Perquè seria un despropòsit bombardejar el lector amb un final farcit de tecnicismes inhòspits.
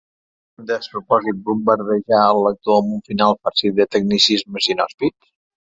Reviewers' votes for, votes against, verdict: 0, 2, rejected